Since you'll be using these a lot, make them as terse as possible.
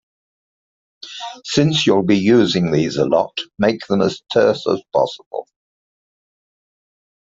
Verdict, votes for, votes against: accepted, 2, 0